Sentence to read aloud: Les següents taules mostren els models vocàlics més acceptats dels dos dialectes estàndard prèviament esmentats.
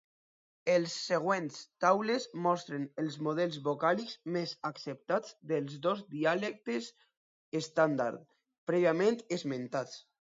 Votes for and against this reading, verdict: 0, 2, rejected